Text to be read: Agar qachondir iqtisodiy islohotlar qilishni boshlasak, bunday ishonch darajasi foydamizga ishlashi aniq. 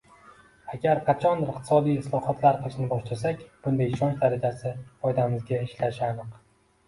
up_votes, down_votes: 2, 1